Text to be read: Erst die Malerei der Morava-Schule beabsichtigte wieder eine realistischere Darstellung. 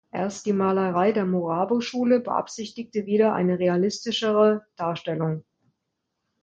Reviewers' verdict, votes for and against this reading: rejected, 1, 2